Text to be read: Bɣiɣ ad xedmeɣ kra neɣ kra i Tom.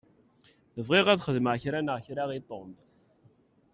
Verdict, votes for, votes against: accepted, 2, 0